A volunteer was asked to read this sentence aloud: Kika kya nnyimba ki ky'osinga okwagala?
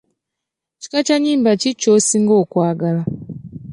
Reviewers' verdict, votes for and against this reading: accepted, 3, 0